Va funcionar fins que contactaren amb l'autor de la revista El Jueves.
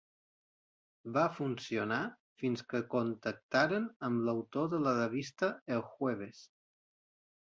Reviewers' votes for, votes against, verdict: 2, 0, accepted